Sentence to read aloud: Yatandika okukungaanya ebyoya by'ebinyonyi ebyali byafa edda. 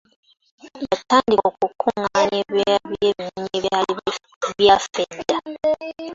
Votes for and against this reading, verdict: 0, 2, rejected